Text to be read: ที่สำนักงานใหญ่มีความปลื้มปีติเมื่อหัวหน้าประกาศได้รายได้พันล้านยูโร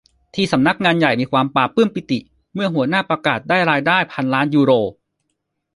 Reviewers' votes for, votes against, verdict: 1, 2, rejected